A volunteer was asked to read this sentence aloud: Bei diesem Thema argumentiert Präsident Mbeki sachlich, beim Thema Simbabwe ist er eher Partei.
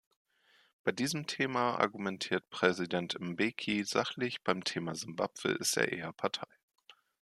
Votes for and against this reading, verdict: 2, 0, accepted